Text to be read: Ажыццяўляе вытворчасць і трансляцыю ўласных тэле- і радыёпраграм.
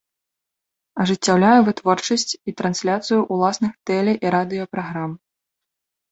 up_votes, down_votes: 2, 0